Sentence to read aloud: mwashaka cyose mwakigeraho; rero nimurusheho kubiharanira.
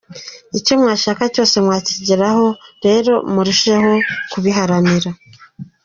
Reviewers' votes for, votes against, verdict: 1, 2, rejected